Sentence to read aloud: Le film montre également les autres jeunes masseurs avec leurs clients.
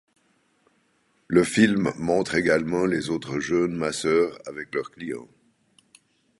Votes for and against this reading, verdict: 2, 0, accepted